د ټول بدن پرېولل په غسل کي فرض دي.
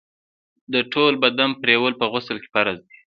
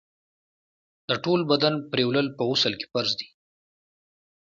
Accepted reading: second